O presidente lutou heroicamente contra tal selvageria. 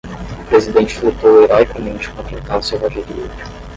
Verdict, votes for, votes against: rejected, 5, 5